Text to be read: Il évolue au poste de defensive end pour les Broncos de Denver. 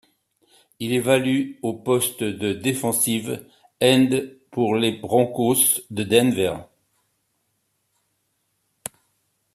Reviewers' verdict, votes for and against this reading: rejected, 0, 2